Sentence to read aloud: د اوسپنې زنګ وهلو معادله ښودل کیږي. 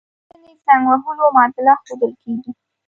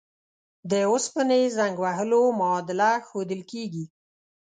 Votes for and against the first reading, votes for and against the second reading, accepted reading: 1, 2, 2, 0, second